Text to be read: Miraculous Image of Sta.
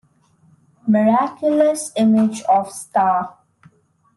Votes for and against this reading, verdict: 2, 0, accepted